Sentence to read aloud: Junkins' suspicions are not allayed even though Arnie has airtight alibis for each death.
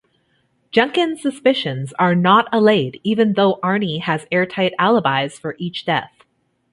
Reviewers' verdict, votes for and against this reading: accepted, 2, 0